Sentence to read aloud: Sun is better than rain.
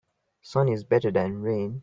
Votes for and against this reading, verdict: 2, 0, accepted